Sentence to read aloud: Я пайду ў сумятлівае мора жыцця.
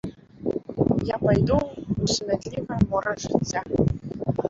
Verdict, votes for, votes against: rejected, 0, 2